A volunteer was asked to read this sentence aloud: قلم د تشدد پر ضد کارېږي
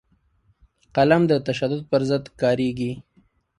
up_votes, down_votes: 3, 0